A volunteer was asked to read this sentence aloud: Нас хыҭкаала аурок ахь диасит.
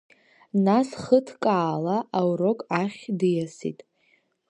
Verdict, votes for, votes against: rejected, 1, 2